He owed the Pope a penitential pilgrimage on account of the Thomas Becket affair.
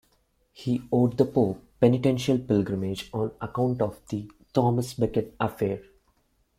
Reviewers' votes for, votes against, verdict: 1, 2, rejected